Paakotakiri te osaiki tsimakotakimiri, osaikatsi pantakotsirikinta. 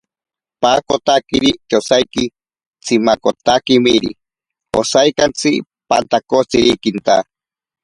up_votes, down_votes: 4, 0